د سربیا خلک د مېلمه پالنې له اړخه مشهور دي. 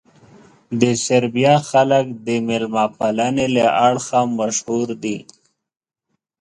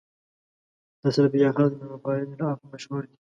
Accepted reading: first